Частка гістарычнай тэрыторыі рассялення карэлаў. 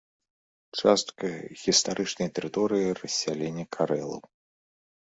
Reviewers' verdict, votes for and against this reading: accepted, 2, 0